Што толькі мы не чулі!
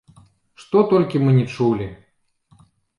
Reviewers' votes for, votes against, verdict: 0, 2, rejected